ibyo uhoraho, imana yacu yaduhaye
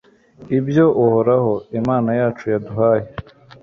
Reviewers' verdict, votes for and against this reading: accepted, 2, 0